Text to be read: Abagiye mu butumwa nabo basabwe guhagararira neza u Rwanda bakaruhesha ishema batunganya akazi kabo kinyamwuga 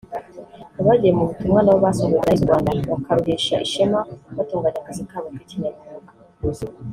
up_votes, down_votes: 0, 3